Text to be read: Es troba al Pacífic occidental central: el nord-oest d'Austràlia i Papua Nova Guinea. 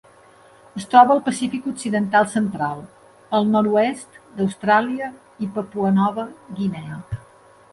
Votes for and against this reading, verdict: 2, 0, accepted